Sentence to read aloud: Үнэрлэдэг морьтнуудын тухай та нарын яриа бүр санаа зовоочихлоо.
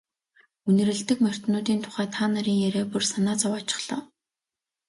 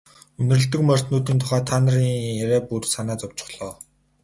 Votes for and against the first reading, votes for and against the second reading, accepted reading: 2, 0, 0, 2, first